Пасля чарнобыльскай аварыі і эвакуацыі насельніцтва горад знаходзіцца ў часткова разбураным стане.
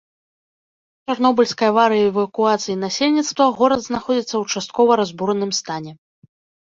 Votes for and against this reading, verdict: 1, 2, rejected